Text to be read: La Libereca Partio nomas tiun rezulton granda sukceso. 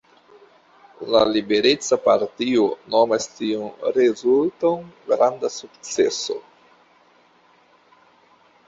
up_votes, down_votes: 2, 0